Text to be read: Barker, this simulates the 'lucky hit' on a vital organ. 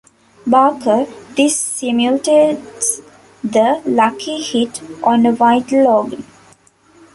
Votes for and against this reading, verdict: 0, 2, rejected